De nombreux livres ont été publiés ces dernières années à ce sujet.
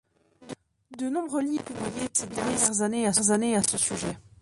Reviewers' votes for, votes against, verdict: 1, 2, rejected